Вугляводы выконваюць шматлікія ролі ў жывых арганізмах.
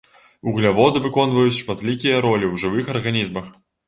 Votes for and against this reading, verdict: 2, 0, accepted